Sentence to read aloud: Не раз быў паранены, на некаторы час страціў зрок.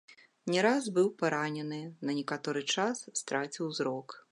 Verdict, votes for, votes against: accepted, 2, 0